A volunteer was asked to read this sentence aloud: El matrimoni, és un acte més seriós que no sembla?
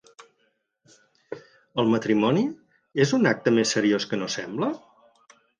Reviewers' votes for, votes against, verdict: 4, 0, accepted